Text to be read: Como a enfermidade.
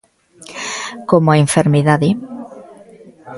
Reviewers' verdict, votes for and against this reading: accepted, 2, 1